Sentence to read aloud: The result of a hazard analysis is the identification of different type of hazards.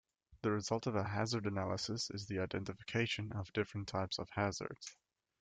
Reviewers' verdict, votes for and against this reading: accepted, 2, 0